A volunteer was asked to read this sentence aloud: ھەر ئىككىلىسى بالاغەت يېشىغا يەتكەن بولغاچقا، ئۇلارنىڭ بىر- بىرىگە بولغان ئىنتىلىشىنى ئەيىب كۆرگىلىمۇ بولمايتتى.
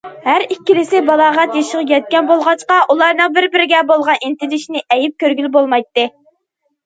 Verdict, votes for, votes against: rejected, 0, 2